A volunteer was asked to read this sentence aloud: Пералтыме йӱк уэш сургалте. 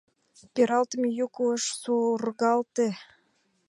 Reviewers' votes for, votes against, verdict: 2, 1, accepted